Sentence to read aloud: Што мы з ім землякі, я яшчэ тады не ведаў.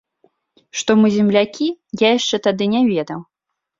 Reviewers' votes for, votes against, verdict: 3, 2, accepted